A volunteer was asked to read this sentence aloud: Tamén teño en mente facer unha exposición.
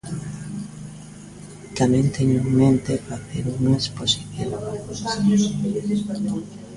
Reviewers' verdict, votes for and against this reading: rejected, 1, 2